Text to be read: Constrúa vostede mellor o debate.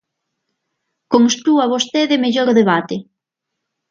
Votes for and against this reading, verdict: 0, 2, rejected